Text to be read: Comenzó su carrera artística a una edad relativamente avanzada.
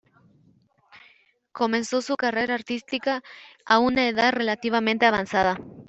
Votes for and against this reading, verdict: 2, 0, accepted